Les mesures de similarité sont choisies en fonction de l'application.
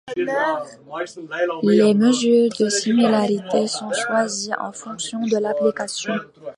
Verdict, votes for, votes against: rejected, 0, 2